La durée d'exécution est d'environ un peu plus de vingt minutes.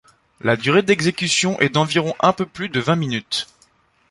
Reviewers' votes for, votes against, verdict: 2, 0, accepted